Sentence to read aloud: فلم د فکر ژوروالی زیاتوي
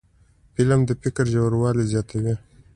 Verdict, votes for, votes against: accepted, 2, 0